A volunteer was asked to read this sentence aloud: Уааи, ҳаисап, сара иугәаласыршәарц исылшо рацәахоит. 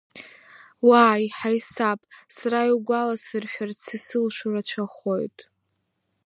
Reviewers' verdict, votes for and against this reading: accepted, 4, 1